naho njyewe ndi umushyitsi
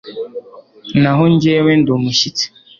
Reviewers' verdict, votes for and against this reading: accepted, 2, 0